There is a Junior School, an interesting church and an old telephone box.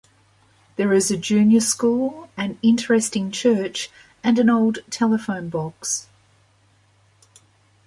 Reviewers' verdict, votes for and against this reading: accepted, 2, 0